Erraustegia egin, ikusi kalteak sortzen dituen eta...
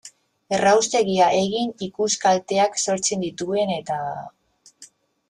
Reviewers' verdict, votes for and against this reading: rejected, 1, 2